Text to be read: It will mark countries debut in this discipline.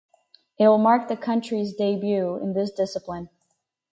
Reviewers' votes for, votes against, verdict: 0, 4, rejected